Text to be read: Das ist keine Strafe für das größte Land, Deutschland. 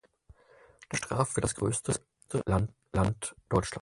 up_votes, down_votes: 0, 4